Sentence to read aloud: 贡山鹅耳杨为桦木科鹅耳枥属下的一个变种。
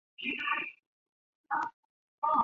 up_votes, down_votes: 0, 3